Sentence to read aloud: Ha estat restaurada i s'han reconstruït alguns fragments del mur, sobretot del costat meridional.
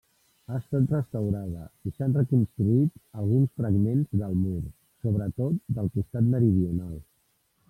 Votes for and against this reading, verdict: 1, 2, rejected